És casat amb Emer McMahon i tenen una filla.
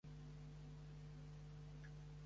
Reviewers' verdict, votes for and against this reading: rejected, 0, 2